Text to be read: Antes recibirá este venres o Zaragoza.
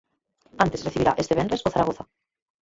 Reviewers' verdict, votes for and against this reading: rejected, 0, 4